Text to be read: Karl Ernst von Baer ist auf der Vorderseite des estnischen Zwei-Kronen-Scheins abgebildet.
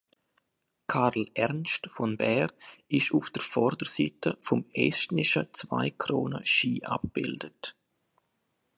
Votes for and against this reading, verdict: 1, 2, rejected